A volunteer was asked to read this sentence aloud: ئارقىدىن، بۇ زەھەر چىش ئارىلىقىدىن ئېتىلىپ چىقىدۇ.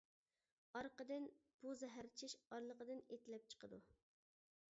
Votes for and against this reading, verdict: 2, 0, accepted